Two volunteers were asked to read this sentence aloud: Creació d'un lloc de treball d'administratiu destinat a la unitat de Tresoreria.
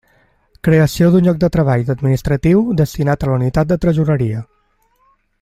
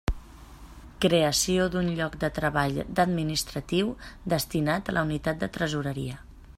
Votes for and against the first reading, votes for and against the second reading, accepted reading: 2, 0, 1, 2, first